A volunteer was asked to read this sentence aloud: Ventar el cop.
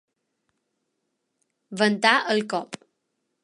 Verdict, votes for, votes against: accepted, 3, 0